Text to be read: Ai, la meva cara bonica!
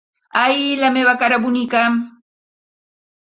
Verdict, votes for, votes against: accepted, 4, 0